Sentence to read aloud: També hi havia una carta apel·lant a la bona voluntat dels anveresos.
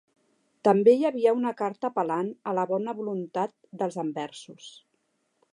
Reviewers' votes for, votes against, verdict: 0, 2, rejected